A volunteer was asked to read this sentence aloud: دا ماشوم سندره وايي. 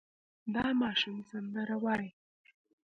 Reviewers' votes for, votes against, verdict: 1, 2, rejected